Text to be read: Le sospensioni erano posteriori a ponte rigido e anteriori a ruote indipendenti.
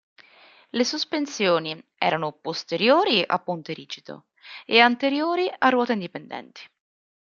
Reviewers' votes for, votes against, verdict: 2, 0, accepted